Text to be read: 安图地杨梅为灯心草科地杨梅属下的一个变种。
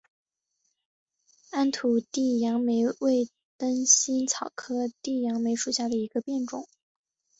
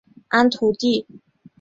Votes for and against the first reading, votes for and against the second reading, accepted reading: 3, 2, 0, 2, first